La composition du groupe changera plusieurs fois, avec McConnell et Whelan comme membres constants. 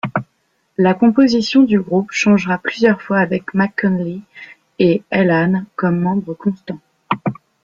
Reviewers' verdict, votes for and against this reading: rejected, 1, 2